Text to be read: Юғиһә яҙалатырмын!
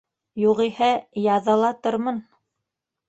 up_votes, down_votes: 1, 2